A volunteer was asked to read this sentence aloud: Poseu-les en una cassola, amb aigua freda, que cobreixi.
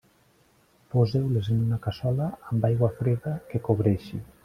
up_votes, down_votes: 3, 0